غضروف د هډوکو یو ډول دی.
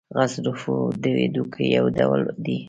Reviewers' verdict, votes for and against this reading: accepted, 2, 0